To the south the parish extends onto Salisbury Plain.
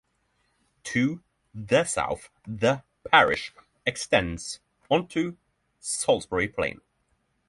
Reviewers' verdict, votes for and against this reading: accepted, 3, 0